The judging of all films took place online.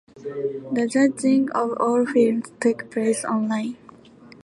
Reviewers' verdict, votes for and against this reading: accepted, 2, 1